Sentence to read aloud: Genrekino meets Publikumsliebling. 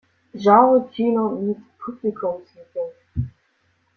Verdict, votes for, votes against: accepted, 2, 0